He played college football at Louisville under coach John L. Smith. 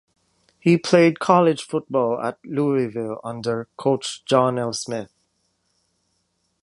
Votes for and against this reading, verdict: 1, 2, rejected